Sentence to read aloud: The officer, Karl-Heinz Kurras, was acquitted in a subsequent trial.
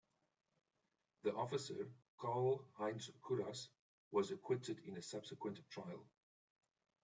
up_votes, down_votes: 0, 2